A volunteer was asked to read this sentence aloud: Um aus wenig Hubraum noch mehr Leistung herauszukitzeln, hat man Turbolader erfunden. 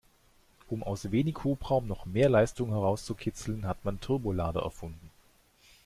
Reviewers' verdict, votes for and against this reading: accepted, 2, 0